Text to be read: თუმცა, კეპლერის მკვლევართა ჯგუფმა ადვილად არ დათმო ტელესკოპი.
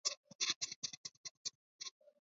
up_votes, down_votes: 0, 2